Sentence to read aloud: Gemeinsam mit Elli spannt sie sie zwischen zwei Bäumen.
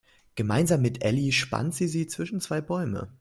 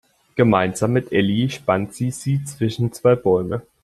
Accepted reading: second